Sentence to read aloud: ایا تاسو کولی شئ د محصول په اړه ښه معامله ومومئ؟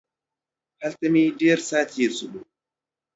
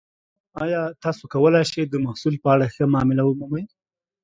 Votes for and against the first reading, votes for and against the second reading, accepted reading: 0, 2, 2, 0, second